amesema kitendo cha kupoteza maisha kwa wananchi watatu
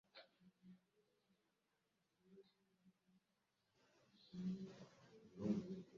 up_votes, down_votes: 0, 4